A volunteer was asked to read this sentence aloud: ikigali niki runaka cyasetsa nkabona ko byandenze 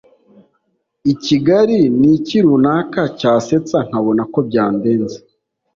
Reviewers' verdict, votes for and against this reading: accepted, 3, 0